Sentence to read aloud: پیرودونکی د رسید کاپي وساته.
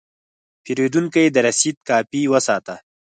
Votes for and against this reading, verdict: 4, 0, accepted